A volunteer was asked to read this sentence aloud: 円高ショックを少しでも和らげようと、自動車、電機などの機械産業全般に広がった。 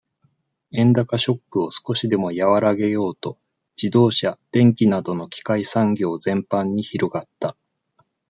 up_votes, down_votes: 2, 0